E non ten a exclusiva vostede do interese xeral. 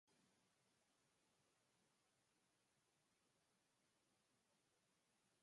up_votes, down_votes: 0, 2